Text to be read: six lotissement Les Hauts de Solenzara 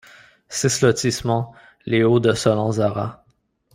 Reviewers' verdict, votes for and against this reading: rejected, 1, 2